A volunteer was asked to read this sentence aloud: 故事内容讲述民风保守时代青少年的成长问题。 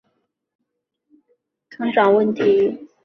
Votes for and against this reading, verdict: 1, 2, rejected